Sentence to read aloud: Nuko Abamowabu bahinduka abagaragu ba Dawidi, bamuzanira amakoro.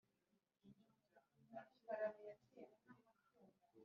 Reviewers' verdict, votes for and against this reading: rejected, 0, 2